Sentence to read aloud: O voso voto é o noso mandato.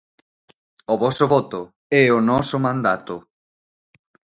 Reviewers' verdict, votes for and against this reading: accepted, 2, 0